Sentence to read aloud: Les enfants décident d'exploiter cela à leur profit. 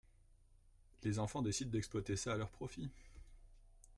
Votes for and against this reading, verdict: 2, 1, accepted